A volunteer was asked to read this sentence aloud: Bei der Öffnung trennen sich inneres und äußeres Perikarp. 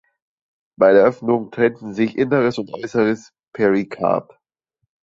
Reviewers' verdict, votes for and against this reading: rejected, 0, 2